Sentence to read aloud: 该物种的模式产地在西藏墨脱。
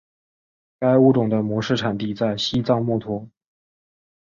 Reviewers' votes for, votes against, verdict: 3, 0, accepted